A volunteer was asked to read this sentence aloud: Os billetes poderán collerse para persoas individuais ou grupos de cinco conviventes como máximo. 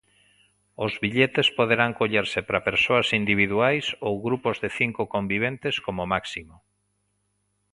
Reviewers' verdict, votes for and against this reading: accepted, 2, 0